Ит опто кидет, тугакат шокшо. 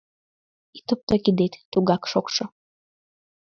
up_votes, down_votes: 1, 2